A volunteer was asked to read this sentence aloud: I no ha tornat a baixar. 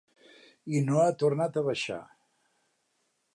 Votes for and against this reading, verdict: 5, 1, accepted